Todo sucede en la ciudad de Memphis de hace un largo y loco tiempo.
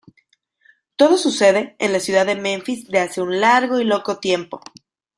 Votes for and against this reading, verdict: 2, 0, accepted